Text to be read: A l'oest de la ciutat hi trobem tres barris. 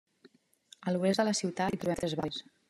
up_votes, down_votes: 1, 2